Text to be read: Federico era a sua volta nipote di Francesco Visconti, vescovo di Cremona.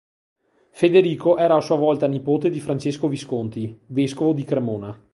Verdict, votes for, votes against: accepted, 2, 0